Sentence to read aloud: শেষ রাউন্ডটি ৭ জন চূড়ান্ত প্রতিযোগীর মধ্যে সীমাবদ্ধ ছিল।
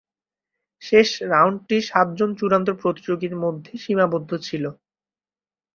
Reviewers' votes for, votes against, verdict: 0, 2, rejected